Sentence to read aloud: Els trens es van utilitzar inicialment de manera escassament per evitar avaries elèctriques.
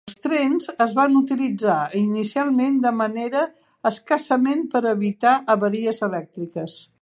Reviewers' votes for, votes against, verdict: 1, 2, rejected